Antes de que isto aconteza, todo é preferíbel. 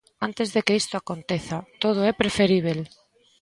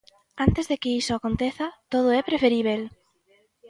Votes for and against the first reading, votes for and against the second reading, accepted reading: 2, 0, 0, 2, first